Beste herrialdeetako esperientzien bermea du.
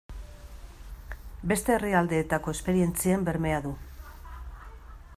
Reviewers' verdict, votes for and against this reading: accepted, 2, 0